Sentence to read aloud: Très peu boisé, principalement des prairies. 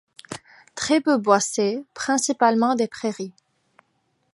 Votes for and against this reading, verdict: 0, 2, rejected